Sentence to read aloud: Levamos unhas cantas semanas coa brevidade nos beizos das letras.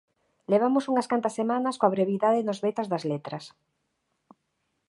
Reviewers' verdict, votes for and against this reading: rejected, 1, 2